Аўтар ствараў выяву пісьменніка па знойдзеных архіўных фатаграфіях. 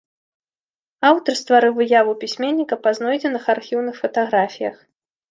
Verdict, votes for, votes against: rejected, 0, 2